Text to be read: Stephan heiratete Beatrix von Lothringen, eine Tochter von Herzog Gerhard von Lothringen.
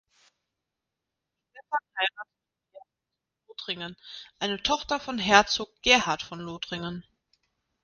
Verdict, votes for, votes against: rejected, 0, 2